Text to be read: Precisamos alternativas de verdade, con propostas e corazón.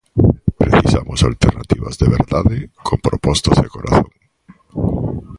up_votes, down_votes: 0, 2